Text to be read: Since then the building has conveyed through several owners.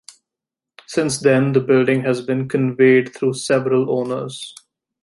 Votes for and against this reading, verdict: 1, 3, rejected